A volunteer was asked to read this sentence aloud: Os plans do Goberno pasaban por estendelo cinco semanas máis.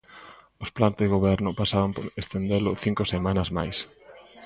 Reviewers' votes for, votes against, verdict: 0, 2, rejected